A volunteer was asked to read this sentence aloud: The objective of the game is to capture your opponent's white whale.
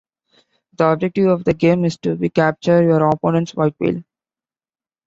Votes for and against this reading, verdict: 1, 2, rejected